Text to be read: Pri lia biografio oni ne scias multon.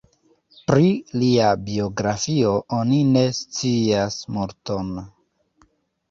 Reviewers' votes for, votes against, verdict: 2, 0, accepted